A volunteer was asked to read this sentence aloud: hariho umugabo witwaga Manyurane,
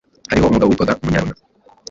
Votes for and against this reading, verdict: 1, 2, rejected